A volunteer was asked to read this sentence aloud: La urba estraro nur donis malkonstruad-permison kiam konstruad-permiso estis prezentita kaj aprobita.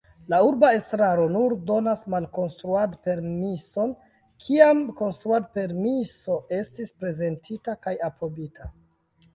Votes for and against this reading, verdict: 1, 2, rejected